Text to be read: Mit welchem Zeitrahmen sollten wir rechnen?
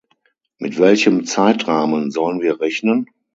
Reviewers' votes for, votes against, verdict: 3, 6, rejected